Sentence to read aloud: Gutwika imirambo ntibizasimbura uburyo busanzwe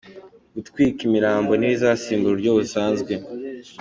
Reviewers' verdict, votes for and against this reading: accepted, 2, 0